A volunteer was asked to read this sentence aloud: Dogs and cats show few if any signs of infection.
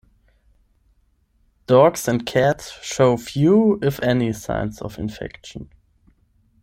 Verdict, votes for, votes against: accepted, 10, 0